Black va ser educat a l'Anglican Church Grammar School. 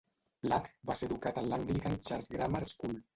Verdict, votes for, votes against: rejected, 1, 2